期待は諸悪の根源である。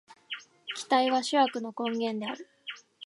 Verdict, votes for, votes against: accepted, 2, 0